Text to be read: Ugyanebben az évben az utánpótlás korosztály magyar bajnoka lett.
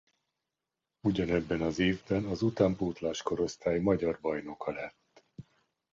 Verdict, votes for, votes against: accepted, 2, 0